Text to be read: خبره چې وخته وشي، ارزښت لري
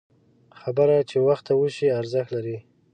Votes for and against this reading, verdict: 4, 0, accepted